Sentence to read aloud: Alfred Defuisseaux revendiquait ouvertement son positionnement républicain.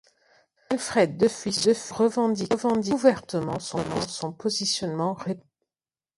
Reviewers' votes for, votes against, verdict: 0, 2, rejected